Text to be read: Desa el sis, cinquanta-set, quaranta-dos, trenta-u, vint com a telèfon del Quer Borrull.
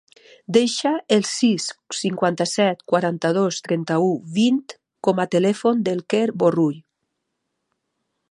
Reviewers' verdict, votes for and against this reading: rejected, 1, 3